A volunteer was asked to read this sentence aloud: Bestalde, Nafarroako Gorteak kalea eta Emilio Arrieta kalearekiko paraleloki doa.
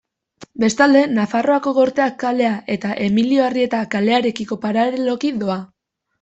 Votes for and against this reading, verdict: 2, 0, accepted